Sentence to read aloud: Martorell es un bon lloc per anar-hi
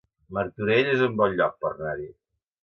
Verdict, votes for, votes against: accepted, 2, 0